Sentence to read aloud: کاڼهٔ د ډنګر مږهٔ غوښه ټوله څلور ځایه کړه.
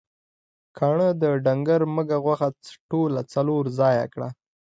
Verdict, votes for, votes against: accepted, 2, 0